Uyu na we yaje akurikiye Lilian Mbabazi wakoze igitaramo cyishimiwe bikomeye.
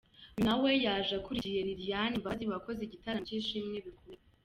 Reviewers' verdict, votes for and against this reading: accepted, 2, 0